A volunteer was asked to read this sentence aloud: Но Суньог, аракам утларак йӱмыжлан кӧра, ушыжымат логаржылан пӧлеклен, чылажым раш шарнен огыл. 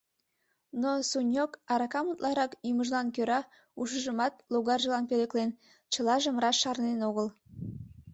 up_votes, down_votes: 2, 0